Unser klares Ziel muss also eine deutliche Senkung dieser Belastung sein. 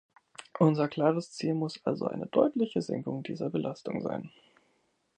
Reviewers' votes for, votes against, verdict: 2, 0, accepted